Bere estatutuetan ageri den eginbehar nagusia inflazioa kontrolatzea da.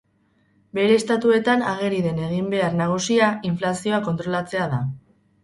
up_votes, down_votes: 0, 4